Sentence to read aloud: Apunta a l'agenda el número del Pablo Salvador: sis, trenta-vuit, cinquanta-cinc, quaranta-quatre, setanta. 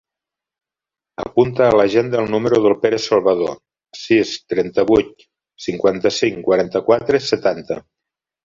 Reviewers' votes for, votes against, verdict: 1, 2, rejected